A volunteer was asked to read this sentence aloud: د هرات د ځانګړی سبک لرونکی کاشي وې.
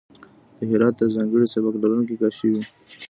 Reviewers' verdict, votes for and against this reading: rejected, 0, 2